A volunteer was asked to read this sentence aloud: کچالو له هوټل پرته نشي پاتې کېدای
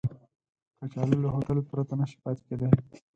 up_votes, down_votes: 4, 0